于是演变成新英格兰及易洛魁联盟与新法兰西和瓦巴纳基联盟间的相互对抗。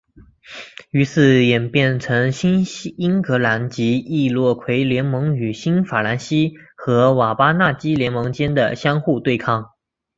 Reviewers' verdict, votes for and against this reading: accepted, 2, 0